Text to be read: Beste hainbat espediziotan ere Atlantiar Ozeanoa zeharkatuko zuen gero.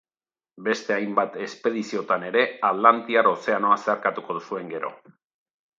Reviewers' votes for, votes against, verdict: 3, 0, accepted